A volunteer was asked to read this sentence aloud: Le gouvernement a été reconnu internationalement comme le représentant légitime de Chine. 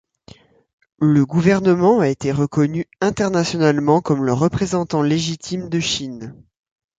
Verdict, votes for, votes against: accepted, 2, 0